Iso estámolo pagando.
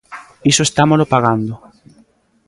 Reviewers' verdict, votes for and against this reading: accepted, 2, 0